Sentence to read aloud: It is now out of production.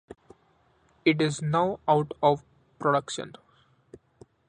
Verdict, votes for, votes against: accepted, 2, 1